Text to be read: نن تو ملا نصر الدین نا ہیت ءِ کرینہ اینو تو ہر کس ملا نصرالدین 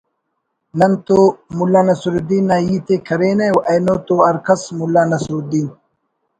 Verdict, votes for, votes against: accepted, 4, 0